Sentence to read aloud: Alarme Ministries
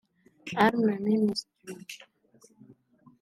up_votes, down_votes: 0, 2